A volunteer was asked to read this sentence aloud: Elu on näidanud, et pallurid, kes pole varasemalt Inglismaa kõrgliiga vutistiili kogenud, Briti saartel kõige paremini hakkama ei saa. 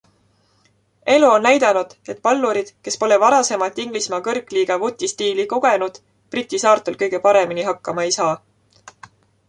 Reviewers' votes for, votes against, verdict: 2, 0, accepted